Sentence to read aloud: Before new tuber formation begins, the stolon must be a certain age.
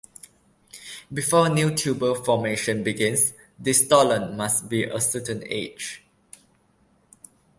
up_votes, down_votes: 2, 0